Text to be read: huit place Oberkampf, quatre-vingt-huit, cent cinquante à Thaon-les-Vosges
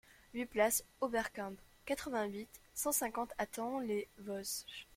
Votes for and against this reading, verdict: 1, 2, rejected